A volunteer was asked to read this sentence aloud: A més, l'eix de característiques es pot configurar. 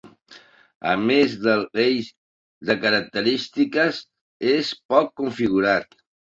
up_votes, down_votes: 0, 2